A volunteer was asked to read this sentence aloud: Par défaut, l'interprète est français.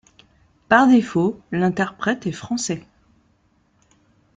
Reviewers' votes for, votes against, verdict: 2, 0, accepted